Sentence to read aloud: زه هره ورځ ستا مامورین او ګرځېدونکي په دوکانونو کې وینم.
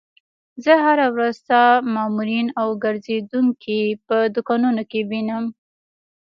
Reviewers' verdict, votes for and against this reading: rejected, 1, 2